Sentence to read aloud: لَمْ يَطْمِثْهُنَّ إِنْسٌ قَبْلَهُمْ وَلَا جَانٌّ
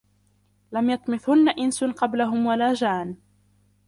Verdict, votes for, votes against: rejected, 0, 2